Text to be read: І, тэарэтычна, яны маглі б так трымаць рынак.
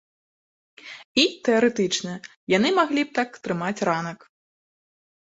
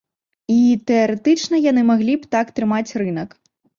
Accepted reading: second